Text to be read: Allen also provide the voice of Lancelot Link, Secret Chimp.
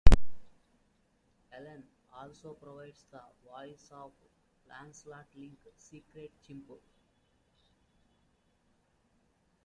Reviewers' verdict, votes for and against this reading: rejected, 0, 2